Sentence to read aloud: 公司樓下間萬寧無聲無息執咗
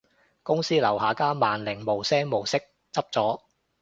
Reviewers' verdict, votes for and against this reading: accepted, 2, 0